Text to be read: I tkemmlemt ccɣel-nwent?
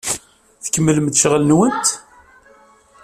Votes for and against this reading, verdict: 2, 1, accepted